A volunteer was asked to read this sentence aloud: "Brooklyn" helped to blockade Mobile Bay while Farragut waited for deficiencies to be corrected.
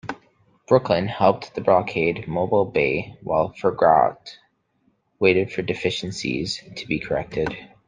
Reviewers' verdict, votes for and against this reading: rejected, 1, 2